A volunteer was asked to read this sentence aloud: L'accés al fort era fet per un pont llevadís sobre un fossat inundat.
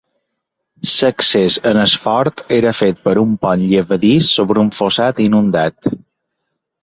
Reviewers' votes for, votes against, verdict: 1, 2, rejected